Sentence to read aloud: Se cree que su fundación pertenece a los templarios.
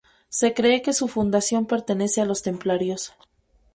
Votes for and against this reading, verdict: 2, 0, accepted